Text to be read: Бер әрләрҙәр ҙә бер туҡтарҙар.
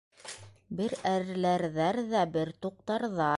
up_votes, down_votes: 1, 2